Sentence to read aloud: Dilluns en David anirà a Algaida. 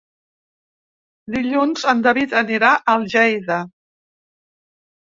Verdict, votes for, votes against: rejected, 0, 3